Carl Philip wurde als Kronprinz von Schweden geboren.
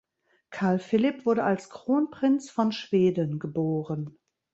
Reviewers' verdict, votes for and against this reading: accepted, 2, 0